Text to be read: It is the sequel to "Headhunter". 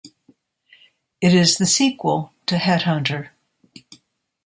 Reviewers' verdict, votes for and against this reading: accepted, 2, 0